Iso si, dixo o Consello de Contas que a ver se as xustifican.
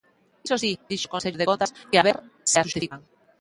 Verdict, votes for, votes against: rejected, 0, 2